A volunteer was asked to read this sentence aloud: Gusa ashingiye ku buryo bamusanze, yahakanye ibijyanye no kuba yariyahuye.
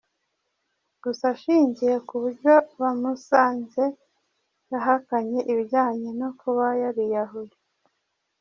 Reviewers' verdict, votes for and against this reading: rejected, 1, 2